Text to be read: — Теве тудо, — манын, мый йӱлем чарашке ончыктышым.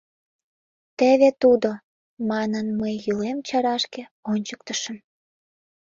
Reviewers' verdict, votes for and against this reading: accepted, 2, 0